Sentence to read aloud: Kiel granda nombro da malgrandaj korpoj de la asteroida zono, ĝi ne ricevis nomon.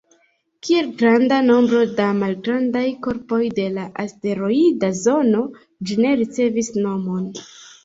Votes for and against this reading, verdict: 2, 0, accepted